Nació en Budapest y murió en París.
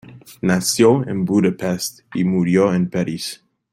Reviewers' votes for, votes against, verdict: 0, 2, rejected